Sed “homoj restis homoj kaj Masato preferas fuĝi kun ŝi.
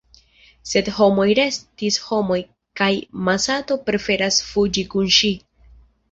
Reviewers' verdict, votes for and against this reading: accepted, 2, 1